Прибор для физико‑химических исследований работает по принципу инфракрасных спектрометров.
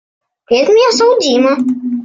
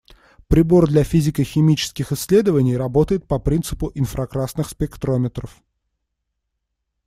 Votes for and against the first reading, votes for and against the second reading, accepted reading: 0, 2, 2, 0, second